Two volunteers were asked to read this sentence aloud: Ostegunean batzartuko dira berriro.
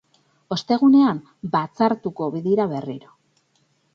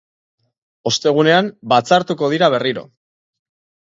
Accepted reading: second